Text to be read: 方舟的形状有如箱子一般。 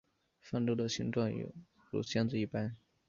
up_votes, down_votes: 2, 1